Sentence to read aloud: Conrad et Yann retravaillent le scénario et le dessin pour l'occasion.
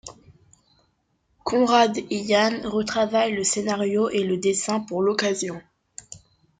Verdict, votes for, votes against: accepted, 2, 1